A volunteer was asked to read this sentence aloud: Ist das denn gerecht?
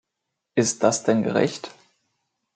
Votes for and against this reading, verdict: 2, 0, accepted